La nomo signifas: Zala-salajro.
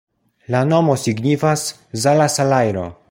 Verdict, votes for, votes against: accepted, 2, 0